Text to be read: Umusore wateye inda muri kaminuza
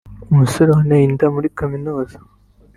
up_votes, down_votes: 0, 2